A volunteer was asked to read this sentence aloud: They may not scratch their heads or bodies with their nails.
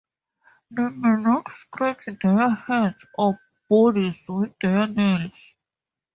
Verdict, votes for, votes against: rejected, 2, 2